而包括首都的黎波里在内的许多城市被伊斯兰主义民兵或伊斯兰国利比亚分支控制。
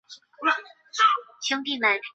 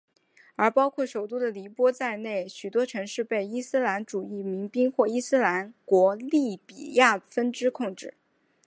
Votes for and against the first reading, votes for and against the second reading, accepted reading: 0, 4, 5, 1, second